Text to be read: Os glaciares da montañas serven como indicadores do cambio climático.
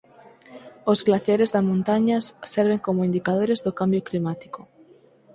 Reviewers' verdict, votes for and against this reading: accepted, 4, 0